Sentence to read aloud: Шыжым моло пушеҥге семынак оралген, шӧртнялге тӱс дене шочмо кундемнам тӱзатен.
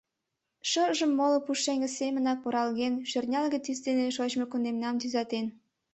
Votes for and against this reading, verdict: 2, 0, accepted